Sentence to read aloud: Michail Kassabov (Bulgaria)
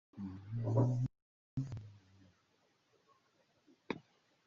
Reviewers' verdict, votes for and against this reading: rejected, 0, 2